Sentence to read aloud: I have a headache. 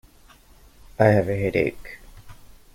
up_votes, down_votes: 2, 0